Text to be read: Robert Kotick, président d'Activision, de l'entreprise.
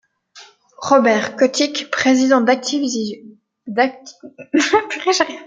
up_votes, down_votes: 0, 2